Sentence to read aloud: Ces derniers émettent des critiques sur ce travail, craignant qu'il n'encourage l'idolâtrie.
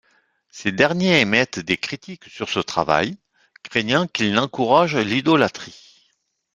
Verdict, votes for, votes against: accepted, 2, 0